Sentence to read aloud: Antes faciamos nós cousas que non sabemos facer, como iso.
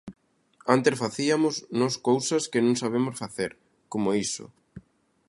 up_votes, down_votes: 0, 2